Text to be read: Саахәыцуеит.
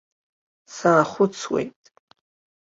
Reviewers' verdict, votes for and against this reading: accepted, 3, 0